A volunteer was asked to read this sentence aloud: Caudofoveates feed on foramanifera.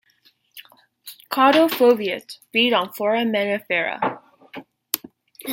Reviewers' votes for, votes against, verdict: 1, 2, rejected